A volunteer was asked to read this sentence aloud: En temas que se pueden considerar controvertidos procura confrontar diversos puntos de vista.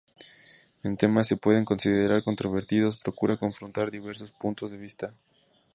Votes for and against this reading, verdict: 0, 2, rejected